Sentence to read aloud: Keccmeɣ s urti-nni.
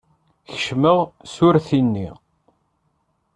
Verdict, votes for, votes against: accepted, 2, 0